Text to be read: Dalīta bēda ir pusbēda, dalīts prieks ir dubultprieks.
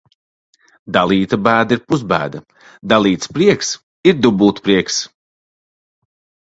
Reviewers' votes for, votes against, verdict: 2, 0, accepted